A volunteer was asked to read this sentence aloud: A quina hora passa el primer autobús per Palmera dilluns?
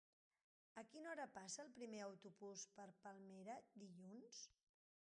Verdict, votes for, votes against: rejected, 0, 2